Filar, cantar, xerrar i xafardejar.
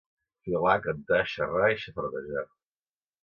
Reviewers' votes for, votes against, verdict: 2, 0, accepted